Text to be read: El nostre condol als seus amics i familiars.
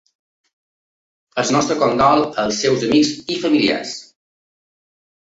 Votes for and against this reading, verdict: 0, 2, rejected